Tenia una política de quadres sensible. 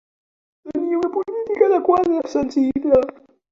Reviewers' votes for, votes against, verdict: 1, 2, rejected